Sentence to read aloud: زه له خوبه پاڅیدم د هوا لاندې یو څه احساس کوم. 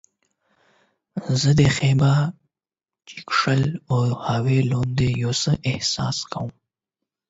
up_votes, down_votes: 4, 8